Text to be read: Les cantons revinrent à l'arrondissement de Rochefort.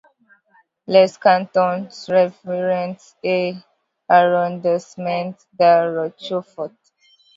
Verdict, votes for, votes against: rejected, 1, 2